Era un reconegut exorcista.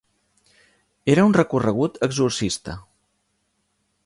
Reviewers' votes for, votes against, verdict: 0, 2, rejected